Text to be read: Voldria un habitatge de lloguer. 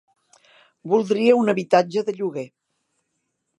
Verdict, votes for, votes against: accepted, 4, 0